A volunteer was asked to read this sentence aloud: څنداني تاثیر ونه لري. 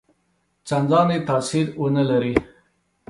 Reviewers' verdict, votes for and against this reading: accepted, 2, 0